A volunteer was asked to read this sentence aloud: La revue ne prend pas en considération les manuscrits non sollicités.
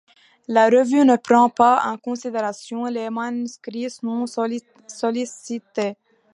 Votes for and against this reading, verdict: 0, 2, rejected